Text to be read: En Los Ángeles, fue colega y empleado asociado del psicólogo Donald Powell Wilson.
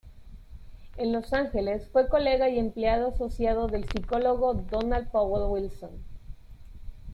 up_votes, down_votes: 2, 0